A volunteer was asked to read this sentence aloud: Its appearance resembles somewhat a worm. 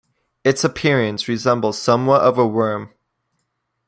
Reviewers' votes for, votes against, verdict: 1, 2, rejected